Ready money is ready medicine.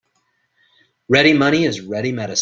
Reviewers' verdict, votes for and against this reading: rejected, 0, 2